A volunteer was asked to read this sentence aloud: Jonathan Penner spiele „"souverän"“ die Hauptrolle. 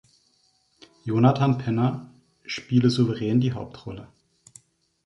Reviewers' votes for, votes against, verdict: 0, 2, rejected